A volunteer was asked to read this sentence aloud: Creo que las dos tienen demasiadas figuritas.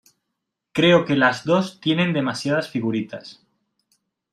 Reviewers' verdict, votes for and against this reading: accepted, 2, 0